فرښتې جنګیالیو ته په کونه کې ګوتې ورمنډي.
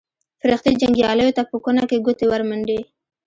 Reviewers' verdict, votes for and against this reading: accepted, 2, 1